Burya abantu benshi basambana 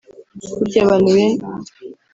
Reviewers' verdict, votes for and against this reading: rejected, 1, 2